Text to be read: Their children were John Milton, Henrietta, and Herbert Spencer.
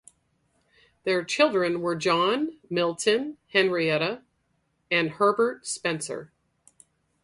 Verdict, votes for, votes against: accepted, 4, 2